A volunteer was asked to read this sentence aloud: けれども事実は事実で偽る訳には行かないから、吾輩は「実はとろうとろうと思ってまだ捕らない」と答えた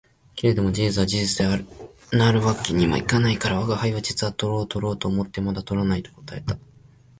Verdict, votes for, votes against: rejected, 0, 2